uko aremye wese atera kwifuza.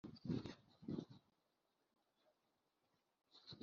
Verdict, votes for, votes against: rejected, 1, 2